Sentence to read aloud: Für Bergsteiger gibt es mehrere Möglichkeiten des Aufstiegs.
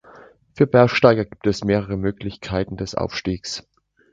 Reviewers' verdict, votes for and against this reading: accepted, 2, 0